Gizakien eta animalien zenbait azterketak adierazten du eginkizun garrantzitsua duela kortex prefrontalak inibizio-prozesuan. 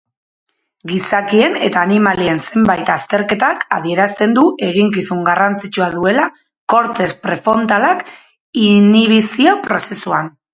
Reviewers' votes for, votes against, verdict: 4, 0, accepted